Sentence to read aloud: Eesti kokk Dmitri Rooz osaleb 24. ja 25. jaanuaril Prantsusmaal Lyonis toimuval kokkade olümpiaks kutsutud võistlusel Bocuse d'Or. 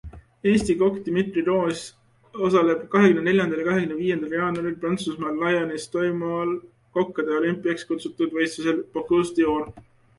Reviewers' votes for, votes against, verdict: 0, 2, rejected